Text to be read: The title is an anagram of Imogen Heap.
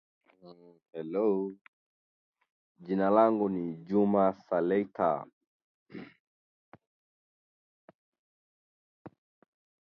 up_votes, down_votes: 0, 2